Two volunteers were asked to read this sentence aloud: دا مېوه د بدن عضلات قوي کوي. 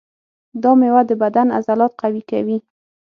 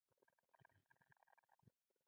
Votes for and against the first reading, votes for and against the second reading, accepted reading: 6, 0, 0, 2, first